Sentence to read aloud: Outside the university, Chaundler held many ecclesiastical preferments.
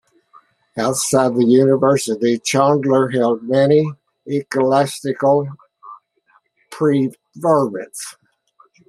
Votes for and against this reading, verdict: 1, 2, rejected